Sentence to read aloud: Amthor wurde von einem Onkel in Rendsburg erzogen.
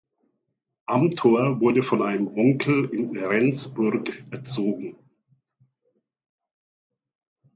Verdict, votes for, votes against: accepted, 2, 0